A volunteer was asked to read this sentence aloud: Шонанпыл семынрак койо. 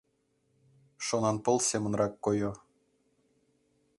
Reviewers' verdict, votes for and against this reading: accepted, 2, 0